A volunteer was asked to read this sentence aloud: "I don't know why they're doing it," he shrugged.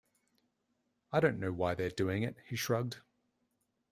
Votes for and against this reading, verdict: 2, 0, accepted